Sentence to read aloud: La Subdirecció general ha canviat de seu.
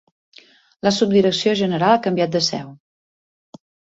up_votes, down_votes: 4, 0